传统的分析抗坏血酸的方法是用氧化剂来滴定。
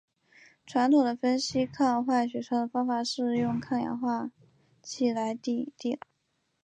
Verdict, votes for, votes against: accepted, 3, 2